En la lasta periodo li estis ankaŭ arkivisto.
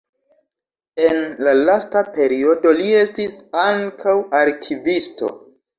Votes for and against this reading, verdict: 2, 0, accepted